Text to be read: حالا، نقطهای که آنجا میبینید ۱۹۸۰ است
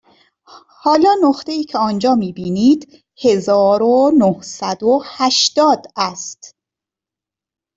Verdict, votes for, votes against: rejected, 0, 2